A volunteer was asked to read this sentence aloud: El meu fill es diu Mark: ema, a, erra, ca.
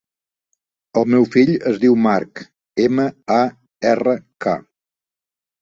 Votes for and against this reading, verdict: 2, 0, accepted